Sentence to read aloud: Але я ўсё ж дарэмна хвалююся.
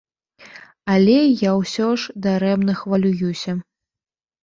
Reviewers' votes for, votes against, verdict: 0, 2, rejected